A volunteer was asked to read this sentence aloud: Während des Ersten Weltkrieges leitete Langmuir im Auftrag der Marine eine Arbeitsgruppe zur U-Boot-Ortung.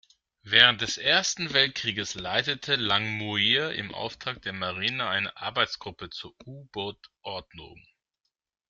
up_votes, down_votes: 0, 2